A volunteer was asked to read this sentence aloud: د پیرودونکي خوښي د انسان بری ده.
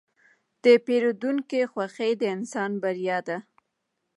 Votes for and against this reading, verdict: 1, 2, rejected